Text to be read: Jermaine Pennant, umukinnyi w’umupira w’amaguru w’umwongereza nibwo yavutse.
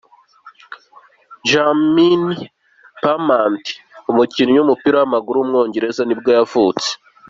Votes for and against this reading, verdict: 2, 0, accepted